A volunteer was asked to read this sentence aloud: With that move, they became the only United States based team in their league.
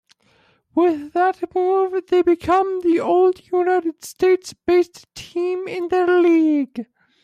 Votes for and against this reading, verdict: 0, 2, rejected